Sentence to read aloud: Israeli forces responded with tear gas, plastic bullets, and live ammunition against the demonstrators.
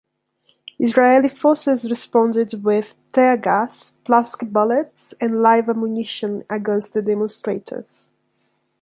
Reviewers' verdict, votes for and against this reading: accepted, 2, 0